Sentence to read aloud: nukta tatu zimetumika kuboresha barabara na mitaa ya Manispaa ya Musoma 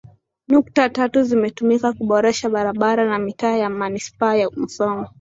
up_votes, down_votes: 2, 1